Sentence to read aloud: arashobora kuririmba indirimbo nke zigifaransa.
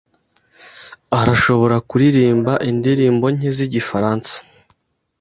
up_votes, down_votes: 2, 0